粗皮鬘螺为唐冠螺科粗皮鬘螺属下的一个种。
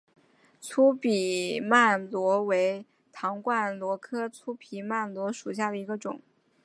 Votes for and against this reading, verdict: 3, 0, accepted